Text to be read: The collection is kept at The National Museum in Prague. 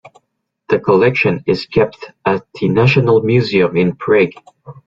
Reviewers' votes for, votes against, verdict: 1, 2, rejected